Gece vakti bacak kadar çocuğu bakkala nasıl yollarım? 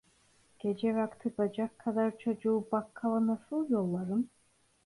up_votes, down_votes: 2, 0